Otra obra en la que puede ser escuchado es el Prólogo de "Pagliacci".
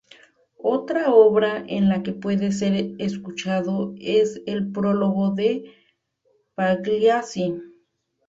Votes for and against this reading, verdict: 0, 2, rejected